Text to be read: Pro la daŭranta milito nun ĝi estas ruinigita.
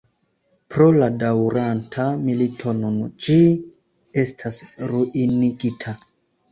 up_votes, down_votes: 2, 0